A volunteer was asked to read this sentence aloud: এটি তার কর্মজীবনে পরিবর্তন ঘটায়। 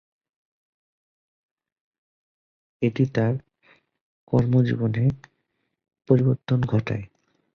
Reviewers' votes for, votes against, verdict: 8, 2, accepted